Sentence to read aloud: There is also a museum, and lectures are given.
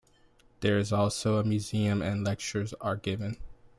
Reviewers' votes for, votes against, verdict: 2, 0, accepted